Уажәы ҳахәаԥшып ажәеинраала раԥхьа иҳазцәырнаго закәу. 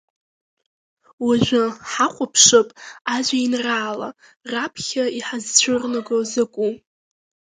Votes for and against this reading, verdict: 2, 1, accepted